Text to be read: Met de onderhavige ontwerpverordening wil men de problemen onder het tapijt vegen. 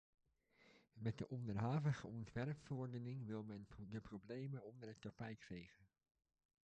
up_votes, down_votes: 0, 2